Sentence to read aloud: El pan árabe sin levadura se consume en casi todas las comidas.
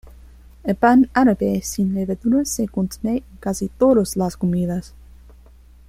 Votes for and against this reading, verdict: 1, 2, rejected